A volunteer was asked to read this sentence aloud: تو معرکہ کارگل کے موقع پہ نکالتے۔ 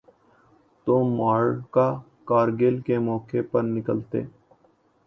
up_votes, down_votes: 2, 0